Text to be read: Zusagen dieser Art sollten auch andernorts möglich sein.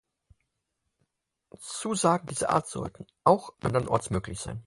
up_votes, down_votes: 4, 0